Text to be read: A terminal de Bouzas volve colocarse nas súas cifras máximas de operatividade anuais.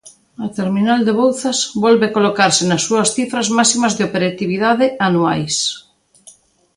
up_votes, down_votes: 2, 0